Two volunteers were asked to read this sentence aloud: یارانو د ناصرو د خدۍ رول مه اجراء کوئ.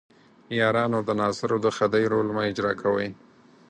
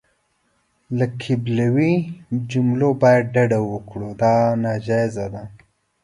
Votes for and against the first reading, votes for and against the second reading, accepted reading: 4, 0, 1, 2, first